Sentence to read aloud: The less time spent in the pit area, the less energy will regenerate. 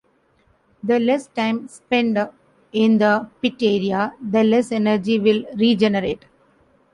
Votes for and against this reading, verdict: 1, 2, rejected